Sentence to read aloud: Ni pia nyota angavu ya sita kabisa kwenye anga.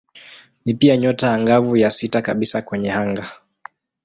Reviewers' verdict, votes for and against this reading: accepted, 2, 0